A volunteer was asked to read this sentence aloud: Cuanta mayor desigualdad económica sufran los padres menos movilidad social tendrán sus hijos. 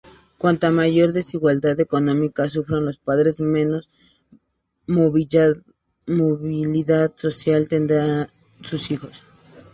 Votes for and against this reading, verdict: 0, 2, rejected